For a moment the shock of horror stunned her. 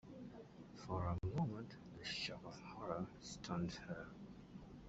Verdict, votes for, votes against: accepted, 2, 1